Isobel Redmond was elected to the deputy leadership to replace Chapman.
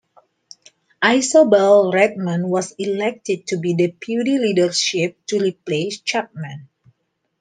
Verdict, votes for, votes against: accepted, 2, 0